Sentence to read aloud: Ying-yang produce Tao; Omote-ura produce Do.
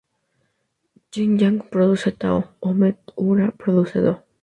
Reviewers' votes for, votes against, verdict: 0, 2, rejected